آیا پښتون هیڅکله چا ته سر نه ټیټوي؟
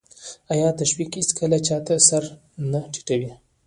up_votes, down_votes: 1, 2